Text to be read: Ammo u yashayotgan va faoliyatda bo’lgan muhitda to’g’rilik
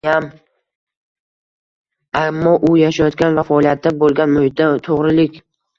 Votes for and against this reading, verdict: 1, 2, rejected